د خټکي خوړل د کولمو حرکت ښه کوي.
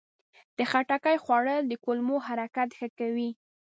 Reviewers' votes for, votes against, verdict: 1, 2, rejected